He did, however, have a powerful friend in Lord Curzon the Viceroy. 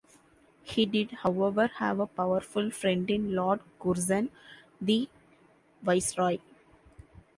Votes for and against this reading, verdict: 2, 0, accepted